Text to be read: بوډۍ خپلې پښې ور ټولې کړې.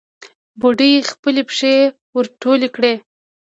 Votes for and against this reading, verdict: 1, 2, rejected